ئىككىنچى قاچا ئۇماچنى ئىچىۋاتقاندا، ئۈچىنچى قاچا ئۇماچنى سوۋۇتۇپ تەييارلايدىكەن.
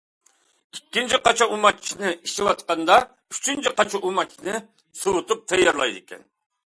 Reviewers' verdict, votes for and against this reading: accepted, 2, 0